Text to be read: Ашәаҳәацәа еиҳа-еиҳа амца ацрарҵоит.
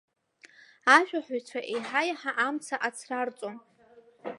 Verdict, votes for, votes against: rejected, 0, 3